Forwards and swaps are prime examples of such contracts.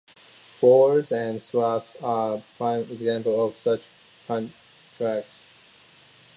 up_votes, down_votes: 2, 1